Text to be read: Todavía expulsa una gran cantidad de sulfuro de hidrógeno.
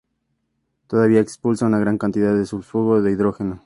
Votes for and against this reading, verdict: 4, 0, accepted